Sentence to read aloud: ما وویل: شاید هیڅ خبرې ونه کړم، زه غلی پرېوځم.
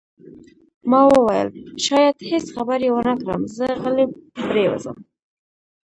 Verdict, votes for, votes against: rejected, 1, 2